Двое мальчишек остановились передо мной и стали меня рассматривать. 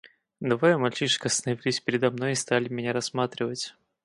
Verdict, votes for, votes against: rejected, 2, 2